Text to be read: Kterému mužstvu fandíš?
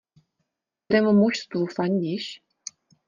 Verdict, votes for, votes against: rejected, 1, 2